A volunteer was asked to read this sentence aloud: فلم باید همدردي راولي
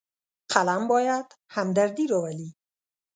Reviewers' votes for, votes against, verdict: 1, 2, rejected